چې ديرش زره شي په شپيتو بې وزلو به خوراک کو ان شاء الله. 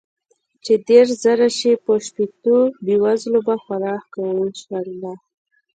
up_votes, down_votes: 2, 0